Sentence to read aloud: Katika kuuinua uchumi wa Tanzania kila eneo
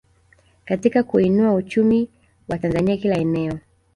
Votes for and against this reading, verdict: 2, 1, accepted